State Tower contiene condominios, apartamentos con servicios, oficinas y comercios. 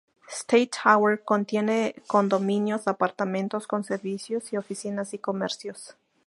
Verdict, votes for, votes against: rejected, 0, 4